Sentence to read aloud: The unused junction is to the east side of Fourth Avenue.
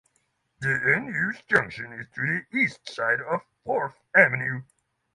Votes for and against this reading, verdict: 3, 0, accepted